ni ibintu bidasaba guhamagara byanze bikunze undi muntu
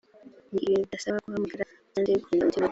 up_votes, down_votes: 1, 2